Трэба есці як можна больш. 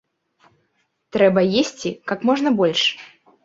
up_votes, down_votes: 1, 2